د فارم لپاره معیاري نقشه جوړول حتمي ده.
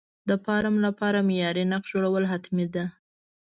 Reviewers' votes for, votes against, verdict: 2, 0, accepted